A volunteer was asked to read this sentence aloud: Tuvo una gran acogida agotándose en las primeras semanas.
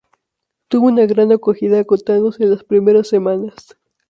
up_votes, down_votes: 0, 2